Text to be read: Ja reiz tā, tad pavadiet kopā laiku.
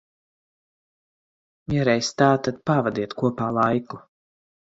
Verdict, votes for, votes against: accepted, 4, 0